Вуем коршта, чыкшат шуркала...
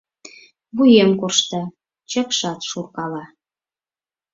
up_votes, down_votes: 4, 0